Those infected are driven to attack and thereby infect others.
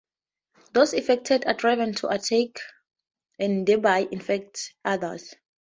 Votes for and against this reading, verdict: 0, 2, rejected